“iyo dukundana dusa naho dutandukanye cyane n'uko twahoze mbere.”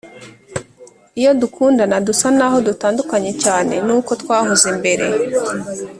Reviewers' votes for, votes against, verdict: 1, 2, rejected